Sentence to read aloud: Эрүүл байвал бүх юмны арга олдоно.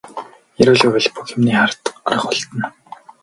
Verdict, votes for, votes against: rejected, 2, 4